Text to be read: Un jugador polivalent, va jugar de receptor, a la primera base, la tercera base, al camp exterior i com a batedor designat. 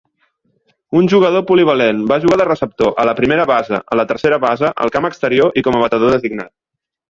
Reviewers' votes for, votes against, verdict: 0, 2, rejected